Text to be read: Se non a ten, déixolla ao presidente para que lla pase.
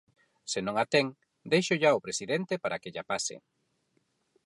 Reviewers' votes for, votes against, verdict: 4, 0, accepted